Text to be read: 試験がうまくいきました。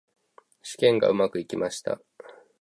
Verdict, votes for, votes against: accepted, 2, 0